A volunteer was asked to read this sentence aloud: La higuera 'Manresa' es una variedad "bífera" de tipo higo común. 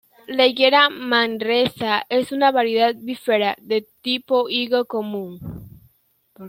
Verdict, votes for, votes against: accepted, 2, 0